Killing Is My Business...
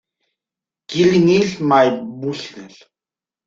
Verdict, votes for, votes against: rejected, 0, 2